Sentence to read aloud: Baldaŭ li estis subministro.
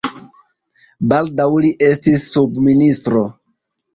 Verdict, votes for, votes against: accepted, 2, 1